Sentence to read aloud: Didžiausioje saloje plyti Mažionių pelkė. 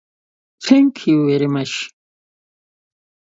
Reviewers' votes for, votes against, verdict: 0, 2, rejected